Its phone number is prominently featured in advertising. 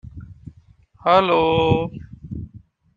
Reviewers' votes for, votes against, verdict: 0, 2, rejected